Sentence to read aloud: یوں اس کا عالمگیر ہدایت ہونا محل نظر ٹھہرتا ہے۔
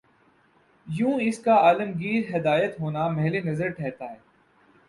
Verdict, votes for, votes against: accepted, 2, 0